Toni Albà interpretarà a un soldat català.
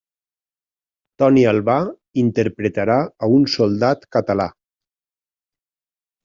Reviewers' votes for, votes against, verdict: 3, 0, accepted